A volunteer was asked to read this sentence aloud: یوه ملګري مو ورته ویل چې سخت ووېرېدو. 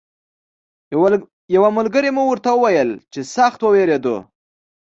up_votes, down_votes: 3, 1